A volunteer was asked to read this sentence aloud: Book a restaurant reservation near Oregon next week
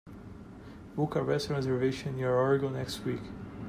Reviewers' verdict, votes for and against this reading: accepted, 2, 0